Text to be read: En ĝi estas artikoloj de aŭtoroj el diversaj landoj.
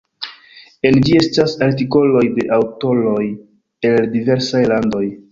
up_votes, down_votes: 1, 2